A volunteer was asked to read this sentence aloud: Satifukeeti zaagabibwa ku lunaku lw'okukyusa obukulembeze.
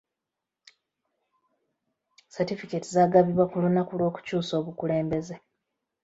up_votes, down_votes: 2, 0